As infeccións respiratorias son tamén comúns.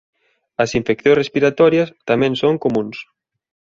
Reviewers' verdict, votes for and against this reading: rejected, 0, 2